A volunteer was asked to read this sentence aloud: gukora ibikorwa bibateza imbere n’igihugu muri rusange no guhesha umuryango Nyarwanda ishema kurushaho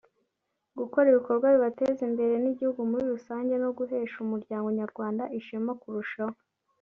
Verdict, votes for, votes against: rejected, 1, 2